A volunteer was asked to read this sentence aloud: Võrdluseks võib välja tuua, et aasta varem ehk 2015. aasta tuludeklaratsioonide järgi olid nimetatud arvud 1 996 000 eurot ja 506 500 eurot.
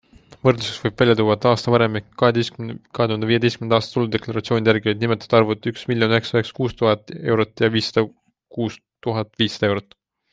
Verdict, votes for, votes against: rejected, 0, 2